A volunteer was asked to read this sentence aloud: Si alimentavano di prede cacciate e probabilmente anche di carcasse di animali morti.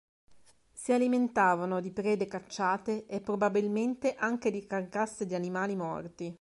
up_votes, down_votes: 2, 0